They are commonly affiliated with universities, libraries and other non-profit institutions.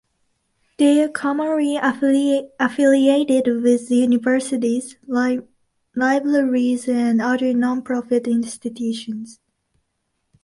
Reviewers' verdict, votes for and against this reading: rejected, 0, 2